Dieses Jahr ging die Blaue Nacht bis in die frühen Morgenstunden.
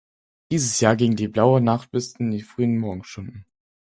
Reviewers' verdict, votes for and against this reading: accepted, 4, 0